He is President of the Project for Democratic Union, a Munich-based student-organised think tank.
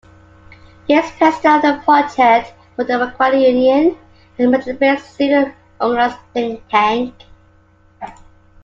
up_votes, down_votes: 0, 2